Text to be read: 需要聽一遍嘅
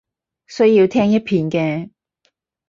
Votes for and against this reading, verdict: 4, 0, accepted